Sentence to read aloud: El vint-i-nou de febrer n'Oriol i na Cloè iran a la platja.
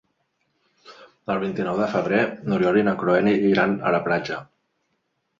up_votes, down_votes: 1, 2